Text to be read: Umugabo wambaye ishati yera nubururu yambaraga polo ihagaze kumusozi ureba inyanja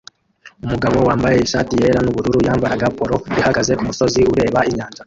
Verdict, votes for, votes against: rejected, 0, 2